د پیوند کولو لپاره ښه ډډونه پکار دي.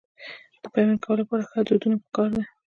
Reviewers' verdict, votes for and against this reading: rejected, 0, 2